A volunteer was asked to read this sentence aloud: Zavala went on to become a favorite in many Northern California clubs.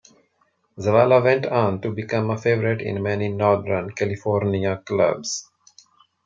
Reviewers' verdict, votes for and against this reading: accepted, 2, 0